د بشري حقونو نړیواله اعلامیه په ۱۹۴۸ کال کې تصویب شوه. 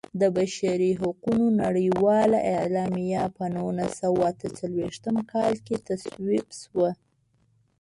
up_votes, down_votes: 0, 2